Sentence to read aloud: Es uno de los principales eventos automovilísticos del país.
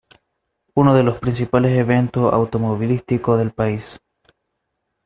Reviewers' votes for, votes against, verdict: 1, 2, rejected